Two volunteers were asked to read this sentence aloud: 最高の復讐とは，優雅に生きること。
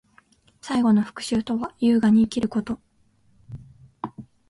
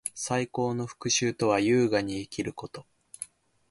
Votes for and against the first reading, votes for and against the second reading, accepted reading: 0, 2, 4, 0, second